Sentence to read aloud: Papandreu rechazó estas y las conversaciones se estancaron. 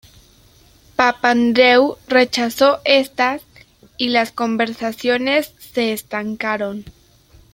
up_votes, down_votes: 1, 2